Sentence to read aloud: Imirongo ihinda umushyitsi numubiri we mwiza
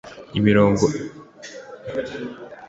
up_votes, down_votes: 1, 2